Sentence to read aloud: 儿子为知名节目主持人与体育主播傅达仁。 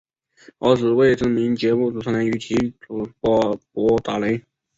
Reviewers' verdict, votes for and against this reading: accepted, 6, 2